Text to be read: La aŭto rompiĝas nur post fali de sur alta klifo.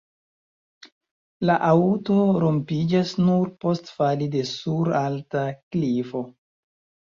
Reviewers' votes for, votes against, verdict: 0, 3, rejected